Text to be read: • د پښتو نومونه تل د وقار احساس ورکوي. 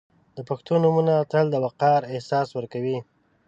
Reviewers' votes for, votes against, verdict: 2, 0, accepted